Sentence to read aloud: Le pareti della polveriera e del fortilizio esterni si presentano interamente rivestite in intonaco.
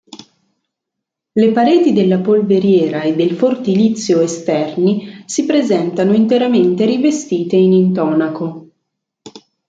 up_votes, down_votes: 2, 0